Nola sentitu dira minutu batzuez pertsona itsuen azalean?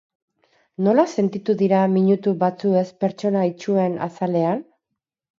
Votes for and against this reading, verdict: 4, 0, accepted